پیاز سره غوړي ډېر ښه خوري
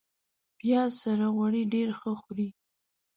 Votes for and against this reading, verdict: 2, 0, accepted